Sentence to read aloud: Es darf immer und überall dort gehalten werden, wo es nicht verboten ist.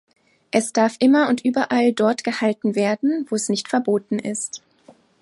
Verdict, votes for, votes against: accepted, 2, 0